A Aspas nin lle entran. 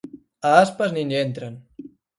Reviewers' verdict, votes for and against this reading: accepted, 4, 0